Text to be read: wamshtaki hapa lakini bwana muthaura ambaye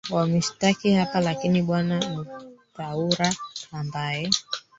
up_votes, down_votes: 1, 3